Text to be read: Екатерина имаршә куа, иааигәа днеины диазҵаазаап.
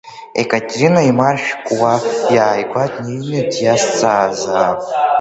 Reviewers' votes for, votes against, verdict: 0, 2, rejected